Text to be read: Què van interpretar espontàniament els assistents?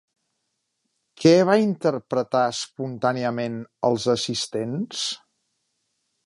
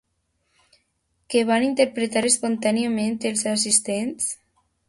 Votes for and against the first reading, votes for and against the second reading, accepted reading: 0, 3, 2, 0, second